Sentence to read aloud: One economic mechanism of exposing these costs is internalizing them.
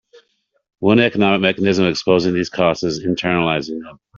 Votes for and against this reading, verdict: 1, 2, rejected